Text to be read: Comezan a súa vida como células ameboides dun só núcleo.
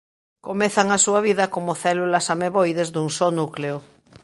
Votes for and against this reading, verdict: 2, 0, accepted